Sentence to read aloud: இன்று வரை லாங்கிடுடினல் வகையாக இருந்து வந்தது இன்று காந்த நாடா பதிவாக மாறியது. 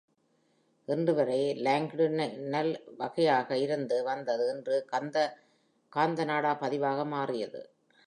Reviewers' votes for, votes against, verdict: 0, 2, rejected